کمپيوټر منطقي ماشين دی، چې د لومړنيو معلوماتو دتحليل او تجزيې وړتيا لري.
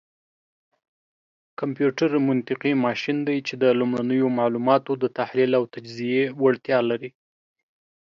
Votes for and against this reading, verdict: 2, 0, accepted